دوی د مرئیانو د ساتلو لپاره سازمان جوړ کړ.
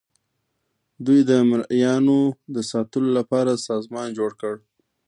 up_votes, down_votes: 2, 1